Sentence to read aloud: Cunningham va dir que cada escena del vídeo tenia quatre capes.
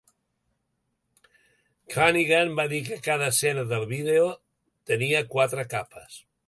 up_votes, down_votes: 1, 2